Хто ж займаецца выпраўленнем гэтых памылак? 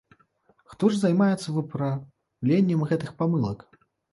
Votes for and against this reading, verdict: 1, 2, rejected